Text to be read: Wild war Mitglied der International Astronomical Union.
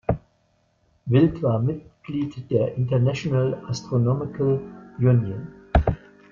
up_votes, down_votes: 0, 2